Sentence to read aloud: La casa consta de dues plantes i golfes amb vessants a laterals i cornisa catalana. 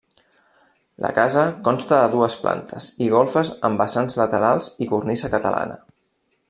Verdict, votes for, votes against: rejected, 1, 2